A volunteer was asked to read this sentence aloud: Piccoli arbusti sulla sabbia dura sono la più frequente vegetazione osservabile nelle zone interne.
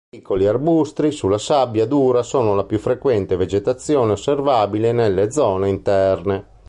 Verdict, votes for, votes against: rejected, 1, 2